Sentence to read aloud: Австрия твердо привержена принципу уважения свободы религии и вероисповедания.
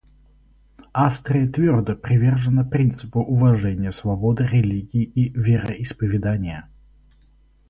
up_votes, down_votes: 2, 0